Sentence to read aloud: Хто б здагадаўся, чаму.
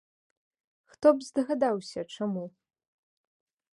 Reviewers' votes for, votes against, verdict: 2, 0, accepted